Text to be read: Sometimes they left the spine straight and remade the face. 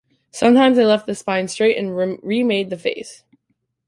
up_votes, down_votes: 0, 2